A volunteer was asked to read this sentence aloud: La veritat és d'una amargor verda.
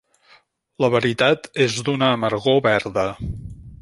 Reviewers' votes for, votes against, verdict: 2, 0, accepted